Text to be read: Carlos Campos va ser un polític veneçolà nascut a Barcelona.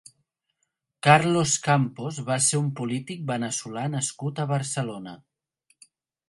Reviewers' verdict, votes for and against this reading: accepted, 4, 0